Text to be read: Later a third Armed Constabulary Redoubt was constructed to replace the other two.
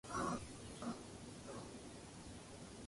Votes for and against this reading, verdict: 0, 2, rejected